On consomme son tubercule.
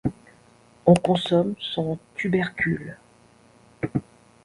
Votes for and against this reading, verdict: 2, 0, accepted